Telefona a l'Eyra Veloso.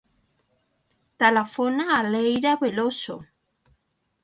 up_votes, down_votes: 2, 0